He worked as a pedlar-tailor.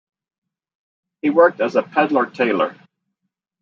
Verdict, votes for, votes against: rejected, 1, 2